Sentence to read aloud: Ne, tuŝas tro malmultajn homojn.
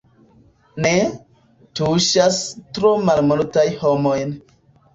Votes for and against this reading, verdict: 0, 2, rejected